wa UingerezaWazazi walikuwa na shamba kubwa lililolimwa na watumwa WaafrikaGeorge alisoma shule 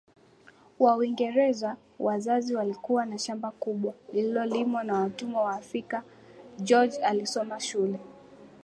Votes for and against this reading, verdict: 2, 0, accepted